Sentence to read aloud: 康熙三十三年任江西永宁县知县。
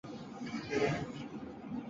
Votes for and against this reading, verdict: 0, 4, rejected